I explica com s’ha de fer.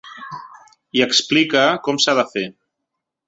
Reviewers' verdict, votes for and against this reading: accepted, 2, 1